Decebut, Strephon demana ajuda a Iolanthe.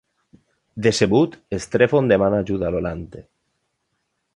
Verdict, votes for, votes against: accepted, 2, 1